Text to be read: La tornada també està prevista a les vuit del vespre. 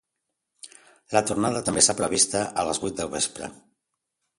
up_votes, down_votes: 2, 0